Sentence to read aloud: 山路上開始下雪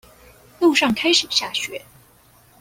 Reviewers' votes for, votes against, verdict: 1, 2, rejected